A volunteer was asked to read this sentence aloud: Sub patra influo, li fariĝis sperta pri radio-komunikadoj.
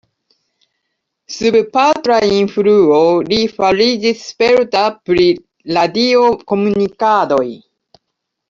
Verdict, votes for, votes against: rejected, 1, 2